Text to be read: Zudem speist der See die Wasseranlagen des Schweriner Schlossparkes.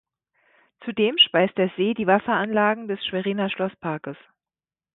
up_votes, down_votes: 2, 0